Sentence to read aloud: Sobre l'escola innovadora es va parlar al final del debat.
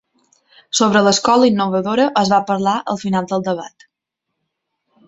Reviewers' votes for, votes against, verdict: 3, 0, accepted